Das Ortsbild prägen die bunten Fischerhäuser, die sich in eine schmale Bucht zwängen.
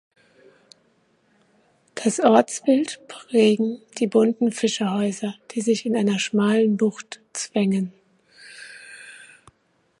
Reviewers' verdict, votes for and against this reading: rejected, 0, 2